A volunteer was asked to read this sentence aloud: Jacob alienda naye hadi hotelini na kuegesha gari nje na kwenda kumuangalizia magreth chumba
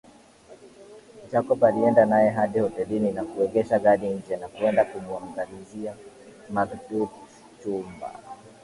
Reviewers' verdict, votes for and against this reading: rejected, 0, 2